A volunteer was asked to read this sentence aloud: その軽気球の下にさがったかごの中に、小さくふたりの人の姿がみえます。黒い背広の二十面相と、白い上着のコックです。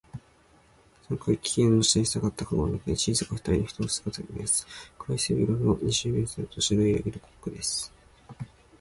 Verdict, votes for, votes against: rejected, 0, 2